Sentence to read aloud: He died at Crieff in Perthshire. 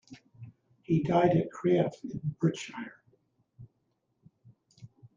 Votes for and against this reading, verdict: 0, 2, rejected